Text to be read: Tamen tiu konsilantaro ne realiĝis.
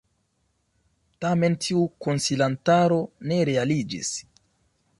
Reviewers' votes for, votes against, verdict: 2, 1, accepted